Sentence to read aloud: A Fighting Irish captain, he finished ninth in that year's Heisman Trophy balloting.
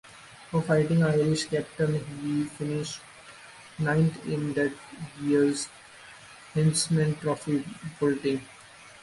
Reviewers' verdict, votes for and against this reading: rejected, 0, 2